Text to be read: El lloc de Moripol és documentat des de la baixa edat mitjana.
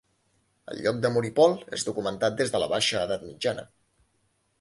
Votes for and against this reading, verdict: 2, 0, accepted